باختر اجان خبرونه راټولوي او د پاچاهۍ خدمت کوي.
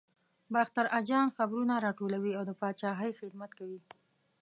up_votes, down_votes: 2, 0